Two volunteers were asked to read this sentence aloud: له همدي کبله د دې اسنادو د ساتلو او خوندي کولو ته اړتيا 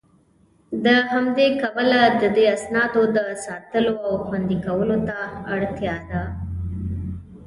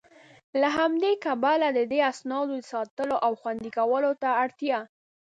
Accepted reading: second